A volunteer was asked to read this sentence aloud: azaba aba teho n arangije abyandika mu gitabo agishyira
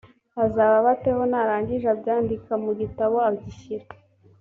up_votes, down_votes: 2, 0